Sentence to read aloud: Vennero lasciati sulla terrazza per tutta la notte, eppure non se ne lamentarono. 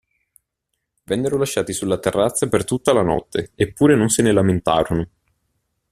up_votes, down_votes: 2, 0